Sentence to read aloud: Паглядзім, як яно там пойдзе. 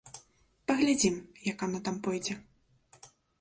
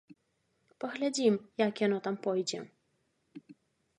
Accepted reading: second